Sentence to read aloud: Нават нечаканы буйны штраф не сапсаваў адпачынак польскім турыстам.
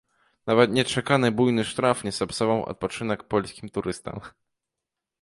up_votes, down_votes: 1, 2